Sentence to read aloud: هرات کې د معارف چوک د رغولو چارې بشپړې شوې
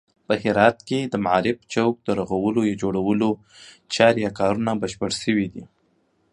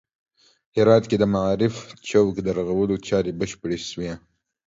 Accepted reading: second